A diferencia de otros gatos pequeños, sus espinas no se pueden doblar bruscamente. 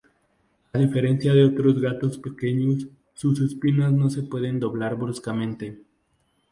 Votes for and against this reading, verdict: 2, 0, accepted